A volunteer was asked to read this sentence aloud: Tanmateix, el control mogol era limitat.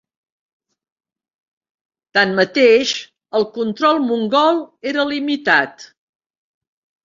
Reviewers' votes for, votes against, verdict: 0, 2, rejected